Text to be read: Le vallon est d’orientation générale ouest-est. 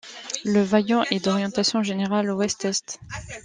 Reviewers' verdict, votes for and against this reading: rejected, 0, 2